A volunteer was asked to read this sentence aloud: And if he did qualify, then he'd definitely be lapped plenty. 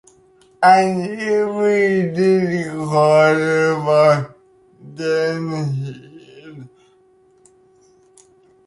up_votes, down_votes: 0, 2